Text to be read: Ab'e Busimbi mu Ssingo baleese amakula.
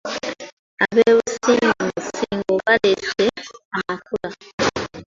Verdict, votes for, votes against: rejected, 0, 2